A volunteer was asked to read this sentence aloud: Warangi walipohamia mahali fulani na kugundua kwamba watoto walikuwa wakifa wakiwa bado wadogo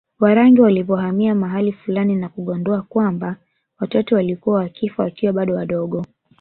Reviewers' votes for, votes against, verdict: 2, 1, accepted